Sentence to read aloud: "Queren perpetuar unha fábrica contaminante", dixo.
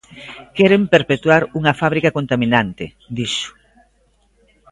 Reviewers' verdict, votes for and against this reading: accepted, 2, 0